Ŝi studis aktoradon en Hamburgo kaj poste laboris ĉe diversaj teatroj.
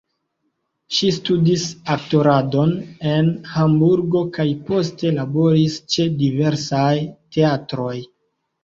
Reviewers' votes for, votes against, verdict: 2, 0, accepted